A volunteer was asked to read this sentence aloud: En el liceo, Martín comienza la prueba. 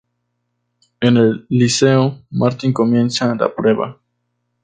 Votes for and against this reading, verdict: 2, 0, accepted